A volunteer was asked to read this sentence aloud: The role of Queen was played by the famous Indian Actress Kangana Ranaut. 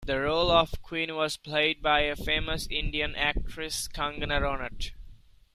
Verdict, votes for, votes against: rejected, 0, 2